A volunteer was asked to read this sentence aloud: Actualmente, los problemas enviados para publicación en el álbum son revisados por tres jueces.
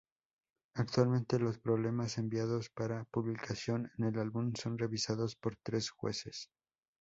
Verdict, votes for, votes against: accepted, 2, 0